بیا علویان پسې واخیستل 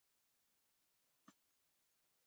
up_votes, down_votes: 0, 2